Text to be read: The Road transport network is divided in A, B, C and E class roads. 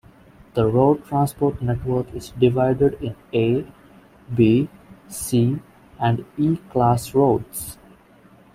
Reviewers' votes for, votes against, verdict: 2, 0, accepted